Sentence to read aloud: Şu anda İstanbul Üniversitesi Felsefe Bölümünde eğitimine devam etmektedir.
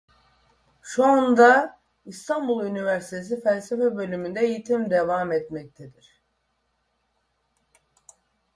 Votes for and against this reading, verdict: 1, 2, rejected